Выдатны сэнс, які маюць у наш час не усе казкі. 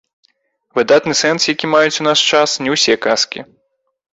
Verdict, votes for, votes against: rejected, 1, 2